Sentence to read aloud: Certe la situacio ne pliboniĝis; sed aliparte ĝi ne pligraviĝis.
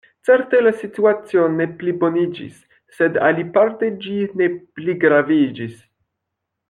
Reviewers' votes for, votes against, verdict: 1, 2, rejected